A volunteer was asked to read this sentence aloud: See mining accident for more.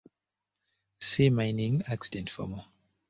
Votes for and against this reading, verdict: 2, 0, accepted